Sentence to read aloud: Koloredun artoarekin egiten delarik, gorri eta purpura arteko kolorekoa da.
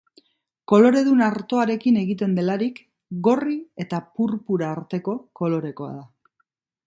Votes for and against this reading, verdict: 2, 0, accepted